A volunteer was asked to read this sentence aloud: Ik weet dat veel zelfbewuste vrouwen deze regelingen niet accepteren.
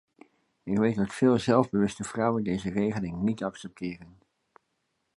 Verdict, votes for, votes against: accepted, 2, 0